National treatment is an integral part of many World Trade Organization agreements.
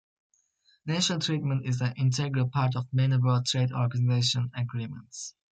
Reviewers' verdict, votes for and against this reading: rejected, 0, 2